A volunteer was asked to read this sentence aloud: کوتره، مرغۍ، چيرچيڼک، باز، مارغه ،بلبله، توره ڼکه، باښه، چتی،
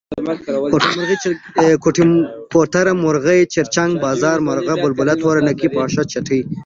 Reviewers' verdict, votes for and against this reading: rejected, 1, 2